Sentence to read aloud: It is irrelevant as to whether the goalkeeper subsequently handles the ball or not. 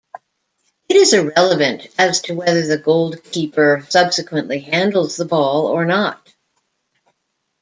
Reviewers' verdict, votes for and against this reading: rejected, 1, 2